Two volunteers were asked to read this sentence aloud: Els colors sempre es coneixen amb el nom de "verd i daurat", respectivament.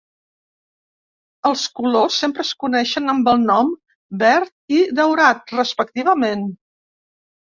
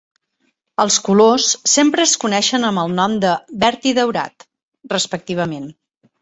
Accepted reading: second